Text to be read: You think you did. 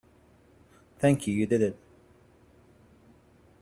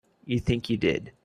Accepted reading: second